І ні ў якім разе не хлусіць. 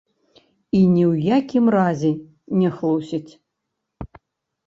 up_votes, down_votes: 0, 2